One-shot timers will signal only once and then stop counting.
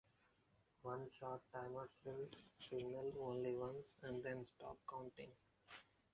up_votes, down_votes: 1, 2